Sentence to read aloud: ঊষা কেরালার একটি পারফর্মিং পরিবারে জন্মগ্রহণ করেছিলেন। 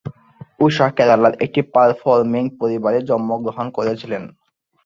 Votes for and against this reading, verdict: 4, 4, rejected